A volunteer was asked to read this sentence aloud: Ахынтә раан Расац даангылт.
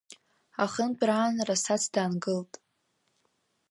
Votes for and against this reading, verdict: 2, 0, accepted